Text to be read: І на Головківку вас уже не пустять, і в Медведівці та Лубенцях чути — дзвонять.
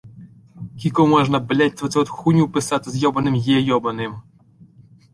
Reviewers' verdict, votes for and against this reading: rejected, 0, 2